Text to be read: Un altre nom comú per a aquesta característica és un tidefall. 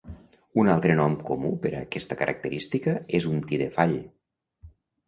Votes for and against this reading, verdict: 2, 0, accepted